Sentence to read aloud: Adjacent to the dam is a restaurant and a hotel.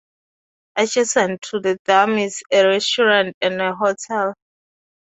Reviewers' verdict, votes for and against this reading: rejected, 0, 2